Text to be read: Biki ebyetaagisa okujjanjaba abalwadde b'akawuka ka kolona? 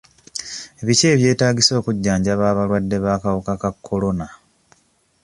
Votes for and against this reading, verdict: 2, 0, accepted